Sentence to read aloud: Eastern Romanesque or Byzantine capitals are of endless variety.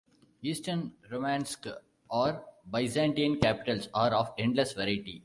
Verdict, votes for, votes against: rejected, 1, 2